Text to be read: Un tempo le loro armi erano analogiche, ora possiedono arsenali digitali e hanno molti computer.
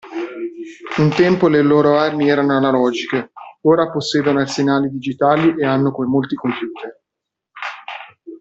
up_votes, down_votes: 0, 2